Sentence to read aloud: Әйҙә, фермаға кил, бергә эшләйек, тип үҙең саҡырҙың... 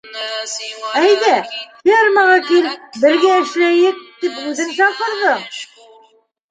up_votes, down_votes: 0, 2